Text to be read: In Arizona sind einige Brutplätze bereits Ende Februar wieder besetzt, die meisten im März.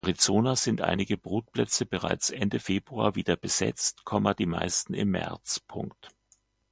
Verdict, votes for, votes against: rejected, 0, 2